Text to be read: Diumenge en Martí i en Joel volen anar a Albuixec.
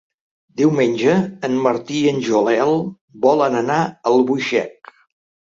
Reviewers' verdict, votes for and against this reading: rejected, 1, 2